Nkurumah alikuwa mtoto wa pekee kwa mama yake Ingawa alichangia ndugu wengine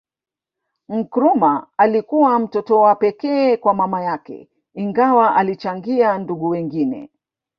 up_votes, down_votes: 0, 2